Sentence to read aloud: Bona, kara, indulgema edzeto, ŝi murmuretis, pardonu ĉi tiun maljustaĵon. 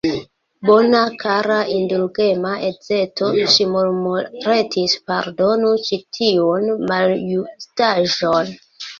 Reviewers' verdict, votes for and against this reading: rejected, 1, 2